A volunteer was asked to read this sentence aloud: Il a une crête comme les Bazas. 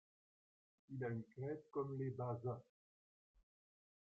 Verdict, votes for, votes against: rejected, 0, 3